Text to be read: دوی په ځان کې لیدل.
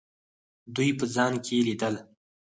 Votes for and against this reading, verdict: 2, 4, rejected